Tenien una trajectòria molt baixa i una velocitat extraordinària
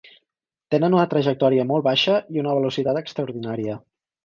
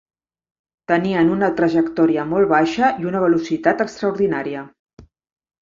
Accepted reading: second